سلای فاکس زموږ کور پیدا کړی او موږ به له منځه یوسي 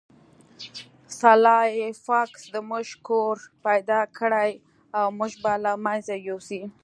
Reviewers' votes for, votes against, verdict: 2, 0, accepted